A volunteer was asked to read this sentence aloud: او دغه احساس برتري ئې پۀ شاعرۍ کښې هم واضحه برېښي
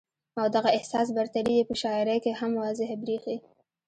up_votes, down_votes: 2, 1